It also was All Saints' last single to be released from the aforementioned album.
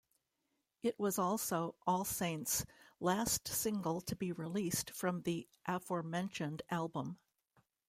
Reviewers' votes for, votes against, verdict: 1, 2, rejected